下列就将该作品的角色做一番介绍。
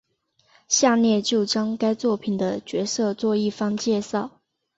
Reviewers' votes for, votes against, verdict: 2, 0, accepted